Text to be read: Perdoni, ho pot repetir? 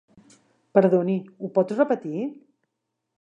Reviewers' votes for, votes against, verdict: 4, 0, accepted